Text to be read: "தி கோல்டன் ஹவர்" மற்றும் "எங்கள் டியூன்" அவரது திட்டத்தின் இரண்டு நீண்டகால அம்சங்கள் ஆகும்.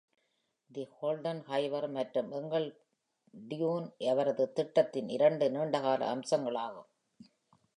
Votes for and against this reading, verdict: 1, 2, rejected